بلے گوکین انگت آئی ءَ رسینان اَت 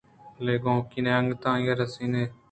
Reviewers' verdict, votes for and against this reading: accepted, 2, 0